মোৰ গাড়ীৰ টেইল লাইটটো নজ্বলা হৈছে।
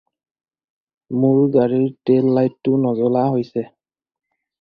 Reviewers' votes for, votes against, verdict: 4, 0, accepted